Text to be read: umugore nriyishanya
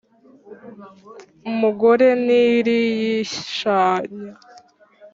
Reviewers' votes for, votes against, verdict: 0, 2, rejected